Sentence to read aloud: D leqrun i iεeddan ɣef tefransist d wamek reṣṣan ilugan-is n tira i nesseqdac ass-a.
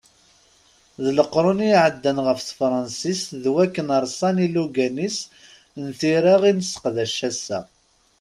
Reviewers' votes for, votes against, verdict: 1, 2, rejected